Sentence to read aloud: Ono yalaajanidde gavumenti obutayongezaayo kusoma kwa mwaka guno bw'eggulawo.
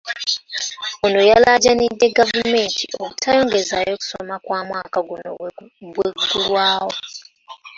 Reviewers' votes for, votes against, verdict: 0, 2, rejected